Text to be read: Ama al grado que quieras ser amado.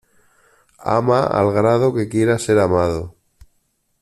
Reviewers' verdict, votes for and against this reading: accepted, 2, 0